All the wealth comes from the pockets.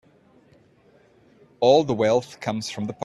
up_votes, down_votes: 0, 2